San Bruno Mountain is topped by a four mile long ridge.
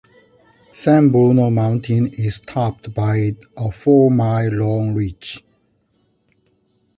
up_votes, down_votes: 2, 0